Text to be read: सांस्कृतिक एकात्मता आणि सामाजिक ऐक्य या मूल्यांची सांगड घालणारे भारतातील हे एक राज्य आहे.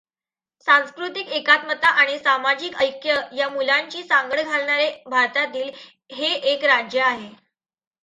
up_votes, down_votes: 2, 0